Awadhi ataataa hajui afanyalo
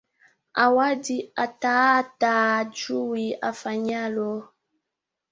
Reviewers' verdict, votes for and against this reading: accepted, 2, 1